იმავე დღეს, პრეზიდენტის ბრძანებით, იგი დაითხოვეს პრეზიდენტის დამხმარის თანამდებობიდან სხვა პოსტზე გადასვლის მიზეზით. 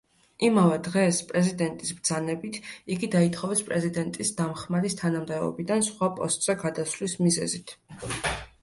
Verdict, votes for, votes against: accepted, 2, 0